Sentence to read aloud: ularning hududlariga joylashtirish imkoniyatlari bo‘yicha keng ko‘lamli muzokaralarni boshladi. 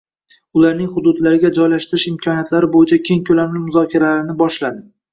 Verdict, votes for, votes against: rejected, 1, 2